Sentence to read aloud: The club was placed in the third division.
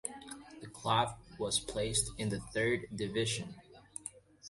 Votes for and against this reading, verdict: 2, 0, accepted